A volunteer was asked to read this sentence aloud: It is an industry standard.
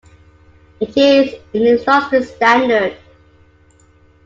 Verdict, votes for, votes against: rejected, 0, 2